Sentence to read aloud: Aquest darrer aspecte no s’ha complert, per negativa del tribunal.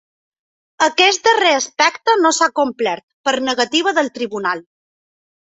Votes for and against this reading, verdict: 3, 0, accepted